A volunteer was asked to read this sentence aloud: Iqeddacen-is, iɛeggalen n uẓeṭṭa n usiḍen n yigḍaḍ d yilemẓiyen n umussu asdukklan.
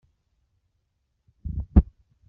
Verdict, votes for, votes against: rejected, 1, 2